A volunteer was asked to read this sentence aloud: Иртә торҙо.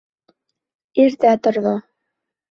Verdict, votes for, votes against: accepted, 3, 0